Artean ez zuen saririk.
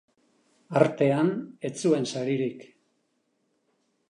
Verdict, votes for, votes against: accepted, 2, 0